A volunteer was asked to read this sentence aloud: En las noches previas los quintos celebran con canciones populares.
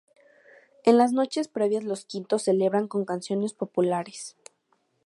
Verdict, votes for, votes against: accepted, 2, 0